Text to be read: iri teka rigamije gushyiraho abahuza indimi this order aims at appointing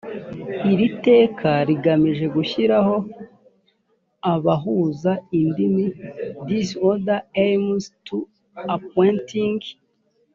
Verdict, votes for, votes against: rejected, 1, 2